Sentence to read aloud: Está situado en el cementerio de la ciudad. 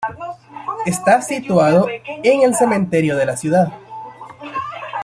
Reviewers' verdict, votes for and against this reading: rejected, 0, 2